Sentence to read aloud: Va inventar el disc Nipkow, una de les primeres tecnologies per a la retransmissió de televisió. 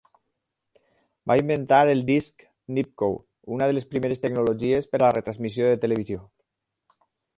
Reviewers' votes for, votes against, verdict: 6, 0, accepted